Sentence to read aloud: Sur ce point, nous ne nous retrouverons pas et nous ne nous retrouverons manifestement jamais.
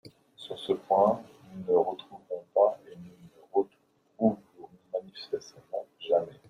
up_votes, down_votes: 1, 2